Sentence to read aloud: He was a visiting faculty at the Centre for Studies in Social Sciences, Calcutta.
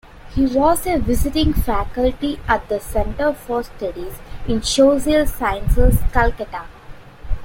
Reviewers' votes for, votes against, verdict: 1, 2, rejected